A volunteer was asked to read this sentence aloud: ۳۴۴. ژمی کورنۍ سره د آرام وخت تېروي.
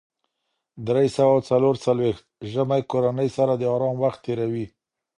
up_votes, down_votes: 0, 2